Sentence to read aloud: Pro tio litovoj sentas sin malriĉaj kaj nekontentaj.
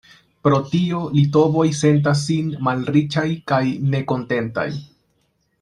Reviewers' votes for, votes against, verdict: 2, 0, accepted